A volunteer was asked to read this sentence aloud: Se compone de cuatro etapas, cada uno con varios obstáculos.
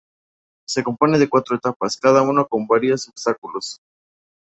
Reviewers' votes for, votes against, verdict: 0, 2, rejected